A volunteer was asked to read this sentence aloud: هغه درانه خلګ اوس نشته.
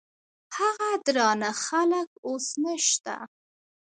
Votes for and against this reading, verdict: 2, 1, accepted